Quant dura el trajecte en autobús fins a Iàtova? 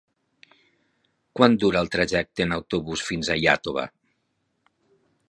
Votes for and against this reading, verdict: 6, 0, accepted